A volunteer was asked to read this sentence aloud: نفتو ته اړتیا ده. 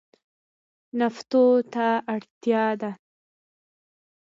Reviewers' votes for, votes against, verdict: 2, 0, accepted